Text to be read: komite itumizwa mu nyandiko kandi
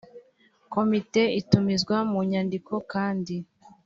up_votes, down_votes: 2, 0